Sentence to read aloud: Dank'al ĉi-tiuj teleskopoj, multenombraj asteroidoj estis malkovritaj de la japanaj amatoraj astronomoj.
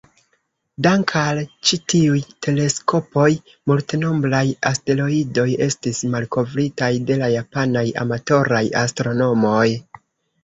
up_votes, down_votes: 2, 0